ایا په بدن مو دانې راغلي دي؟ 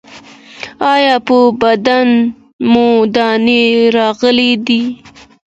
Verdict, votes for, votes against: accepted, 2, 0